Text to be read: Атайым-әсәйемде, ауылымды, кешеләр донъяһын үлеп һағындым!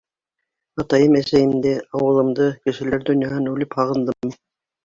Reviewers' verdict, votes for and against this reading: accepted, 2, 0